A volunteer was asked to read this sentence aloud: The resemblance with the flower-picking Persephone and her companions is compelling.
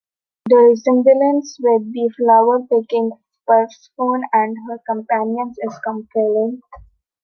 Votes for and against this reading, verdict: 0, 2, rejected